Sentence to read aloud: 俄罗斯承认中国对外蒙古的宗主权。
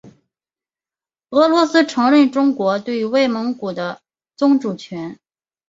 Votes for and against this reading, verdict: 5, 0, accepted